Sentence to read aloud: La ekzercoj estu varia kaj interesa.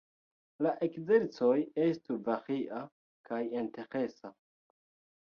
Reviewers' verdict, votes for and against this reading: rejected, 0, 2